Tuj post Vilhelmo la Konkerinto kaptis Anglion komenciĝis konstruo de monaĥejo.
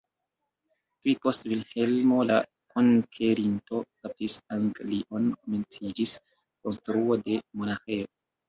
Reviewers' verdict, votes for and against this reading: accepted, 2, 1